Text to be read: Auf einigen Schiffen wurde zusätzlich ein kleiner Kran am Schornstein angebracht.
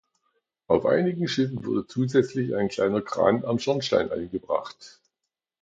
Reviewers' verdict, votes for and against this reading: accepted, 2, 0